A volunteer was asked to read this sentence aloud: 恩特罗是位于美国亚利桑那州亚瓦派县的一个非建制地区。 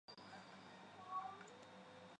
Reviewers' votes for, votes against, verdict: 1, 2, rejected